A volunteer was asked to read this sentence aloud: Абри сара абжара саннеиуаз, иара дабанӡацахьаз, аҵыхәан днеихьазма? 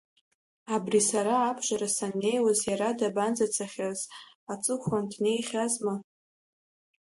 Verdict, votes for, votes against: accepted, 2, 0